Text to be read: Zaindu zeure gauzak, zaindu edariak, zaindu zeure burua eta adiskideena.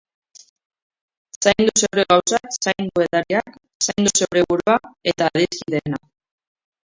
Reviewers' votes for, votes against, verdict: 0, 2, rejected